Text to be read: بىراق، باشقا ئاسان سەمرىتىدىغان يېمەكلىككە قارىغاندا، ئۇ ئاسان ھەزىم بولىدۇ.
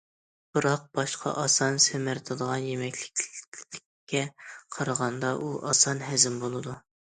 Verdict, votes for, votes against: rejected, 0, 2